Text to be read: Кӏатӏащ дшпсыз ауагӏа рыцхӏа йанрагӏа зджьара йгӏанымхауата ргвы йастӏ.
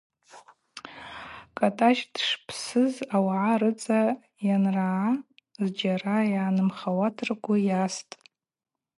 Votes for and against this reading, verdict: 2, 0, accepted